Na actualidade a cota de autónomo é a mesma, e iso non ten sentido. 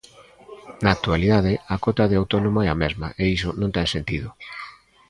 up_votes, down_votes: 0, 2